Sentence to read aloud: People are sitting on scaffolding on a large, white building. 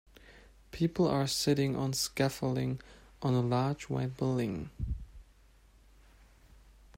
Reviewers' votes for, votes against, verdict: 4, 0, accepted